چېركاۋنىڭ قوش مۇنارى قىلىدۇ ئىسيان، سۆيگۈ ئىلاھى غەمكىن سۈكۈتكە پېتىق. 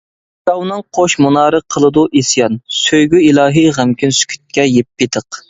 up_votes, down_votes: 0, 2